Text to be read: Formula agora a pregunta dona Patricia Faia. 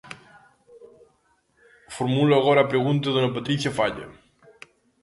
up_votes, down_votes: 1, 2